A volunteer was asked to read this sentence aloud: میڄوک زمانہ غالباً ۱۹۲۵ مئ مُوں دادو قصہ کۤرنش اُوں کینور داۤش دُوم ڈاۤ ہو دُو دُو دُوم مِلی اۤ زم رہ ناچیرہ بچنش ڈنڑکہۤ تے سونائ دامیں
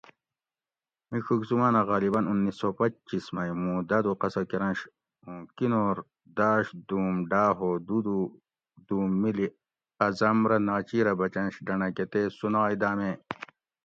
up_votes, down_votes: 0, 2